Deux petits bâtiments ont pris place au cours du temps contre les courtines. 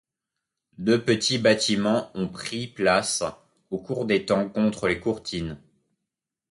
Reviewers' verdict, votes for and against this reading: accepted, 2, 0